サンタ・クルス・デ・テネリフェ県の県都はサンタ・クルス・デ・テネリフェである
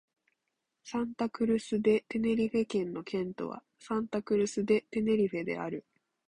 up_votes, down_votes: 2, 0